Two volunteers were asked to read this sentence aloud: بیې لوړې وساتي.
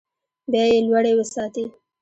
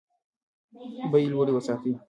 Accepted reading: first